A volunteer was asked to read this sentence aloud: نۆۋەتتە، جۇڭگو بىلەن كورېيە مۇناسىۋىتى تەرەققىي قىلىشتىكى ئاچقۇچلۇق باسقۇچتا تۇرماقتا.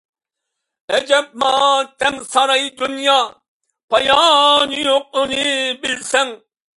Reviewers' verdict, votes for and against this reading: rejected, 0, 2